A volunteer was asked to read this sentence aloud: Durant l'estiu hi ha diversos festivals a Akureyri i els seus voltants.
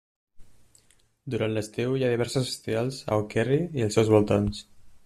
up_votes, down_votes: 1, 2